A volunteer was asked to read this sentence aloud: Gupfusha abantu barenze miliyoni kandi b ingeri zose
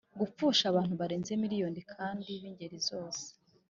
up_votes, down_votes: 2, 0